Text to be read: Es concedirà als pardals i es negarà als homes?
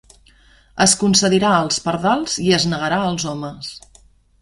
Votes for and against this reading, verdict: 1, 2, rejected